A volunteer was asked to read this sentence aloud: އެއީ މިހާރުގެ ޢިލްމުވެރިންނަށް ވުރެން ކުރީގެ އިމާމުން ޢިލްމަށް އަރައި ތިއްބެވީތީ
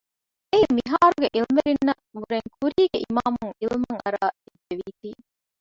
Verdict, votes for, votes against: rejected, 0, 2